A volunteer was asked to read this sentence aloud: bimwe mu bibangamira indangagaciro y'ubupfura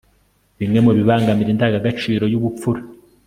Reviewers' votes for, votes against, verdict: 2, 0, accepted